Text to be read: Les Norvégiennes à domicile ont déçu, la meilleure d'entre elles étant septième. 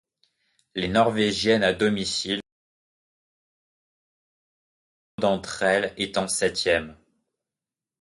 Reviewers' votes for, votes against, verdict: 0, 3, rejected